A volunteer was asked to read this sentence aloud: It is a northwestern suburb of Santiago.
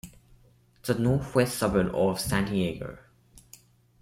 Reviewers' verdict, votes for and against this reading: rejected, 1, 2